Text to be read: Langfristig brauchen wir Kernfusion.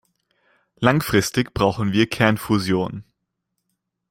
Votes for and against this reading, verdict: 2, 0, accepted